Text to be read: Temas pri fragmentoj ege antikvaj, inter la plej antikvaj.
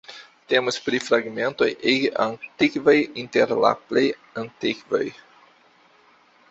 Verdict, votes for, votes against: accepted, 2, 0